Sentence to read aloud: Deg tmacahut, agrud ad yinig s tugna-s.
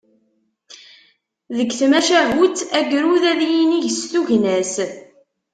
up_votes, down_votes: 2, 0